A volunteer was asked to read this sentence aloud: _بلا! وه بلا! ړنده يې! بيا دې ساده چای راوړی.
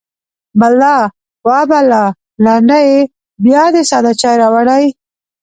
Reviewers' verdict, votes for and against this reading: rejected, 1, 2